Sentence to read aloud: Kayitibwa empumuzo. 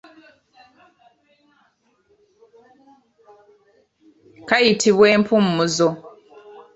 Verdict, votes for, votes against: accepted, 3, 0